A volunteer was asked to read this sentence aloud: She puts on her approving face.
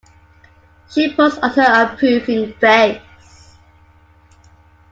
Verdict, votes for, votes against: accepted, 2, 0